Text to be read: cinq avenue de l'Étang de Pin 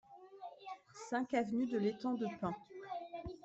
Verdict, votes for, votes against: accepted, 2, 0